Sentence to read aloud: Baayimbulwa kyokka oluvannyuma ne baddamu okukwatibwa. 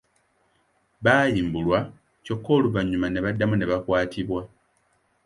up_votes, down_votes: 0, 2